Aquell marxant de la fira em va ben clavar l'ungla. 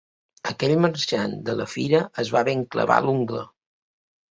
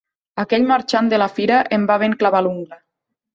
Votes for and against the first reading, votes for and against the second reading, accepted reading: 1, 2, 2, 1, second